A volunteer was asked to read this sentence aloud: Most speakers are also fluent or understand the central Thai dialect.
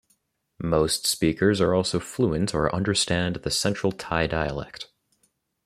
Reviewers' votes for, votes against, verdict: 0, 2, rejected